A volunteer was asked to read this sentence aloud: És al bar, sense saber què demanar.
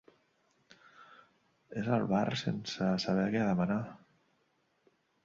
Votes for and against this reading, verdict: 2, 1, accepted